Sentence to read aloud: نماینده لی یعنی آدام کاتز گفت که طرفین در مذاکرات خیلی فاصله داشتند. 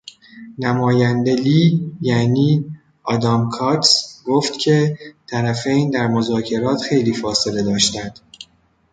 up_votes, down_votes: 0, 2